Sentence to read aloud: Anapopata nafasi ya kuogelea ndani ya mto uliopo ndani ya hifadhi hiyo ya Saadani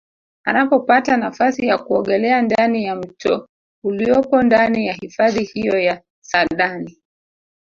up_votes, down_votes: 0, 2